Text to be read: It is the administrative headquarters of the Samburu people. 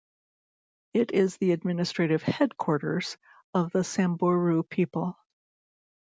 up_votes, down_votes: 2, 1